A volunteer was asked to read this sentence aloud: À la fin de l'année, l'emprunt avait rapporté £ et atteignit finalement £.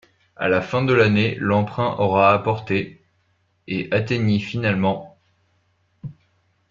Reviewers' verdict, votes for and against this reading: rejected, 1, 2